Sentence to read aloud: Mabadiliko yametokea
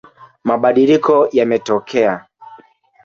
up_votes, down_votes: 3, 2